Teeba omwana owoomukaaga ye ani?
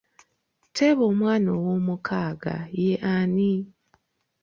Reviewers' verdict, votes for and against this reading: accepted, 2, 0